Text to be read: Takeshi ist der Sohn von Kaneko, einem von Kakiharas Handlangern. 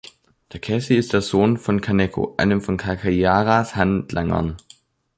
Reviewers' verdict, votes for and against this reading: rejected, 0, 2